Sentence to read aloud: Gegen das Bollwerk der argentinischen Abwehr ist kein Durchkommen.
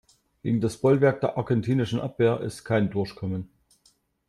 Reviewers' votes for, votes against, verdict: 2, 1, accepted